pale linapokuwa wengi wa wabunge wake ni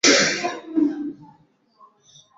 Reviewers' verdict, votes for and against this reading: rejected, 0, 2